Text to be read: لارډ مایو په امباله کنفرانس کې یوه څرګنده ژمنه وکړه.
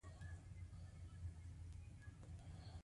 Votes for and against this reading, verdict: 2, 1, accepted